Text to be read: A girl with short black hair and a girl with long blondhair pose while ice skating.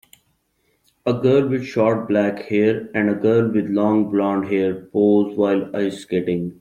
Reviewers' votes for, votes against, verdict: 2, 0, accepted